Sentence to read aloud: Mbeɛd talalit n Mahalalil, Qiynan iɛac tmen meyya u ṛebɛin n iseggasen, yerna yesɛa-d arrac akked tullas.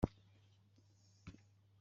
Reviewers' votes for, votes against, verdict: 0, 2, rejected